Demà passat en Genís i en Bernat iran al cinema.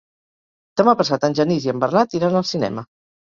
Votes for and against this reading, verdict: 3, 0, accepted